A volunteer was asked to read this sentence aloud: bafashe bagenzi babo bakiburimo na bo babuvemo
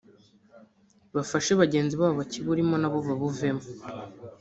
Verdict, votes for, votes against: rejected, 0, 2